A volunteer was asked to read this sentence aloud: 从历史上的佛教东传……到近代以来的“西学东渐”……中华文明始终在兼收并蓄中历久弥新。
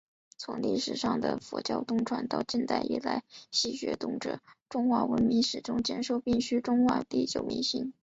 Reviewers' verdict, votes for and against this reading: rejected, 1, 2